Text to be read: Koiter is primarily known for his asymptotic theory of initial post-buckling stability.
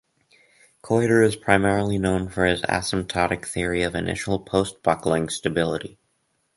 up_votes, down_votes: 4, 0